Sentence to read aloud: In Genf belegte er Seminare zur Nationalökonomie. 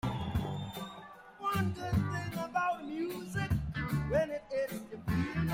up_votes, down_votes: 0, 2